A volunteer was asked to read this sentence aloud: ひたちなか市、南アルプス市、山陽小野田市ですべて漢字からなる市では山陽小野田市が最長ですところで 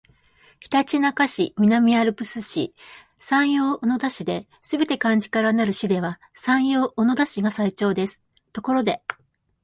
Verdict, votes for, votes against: accepted, 2, 0